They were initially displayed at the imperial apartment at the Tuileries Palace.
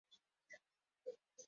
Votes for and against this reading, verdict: 0, 4, rejected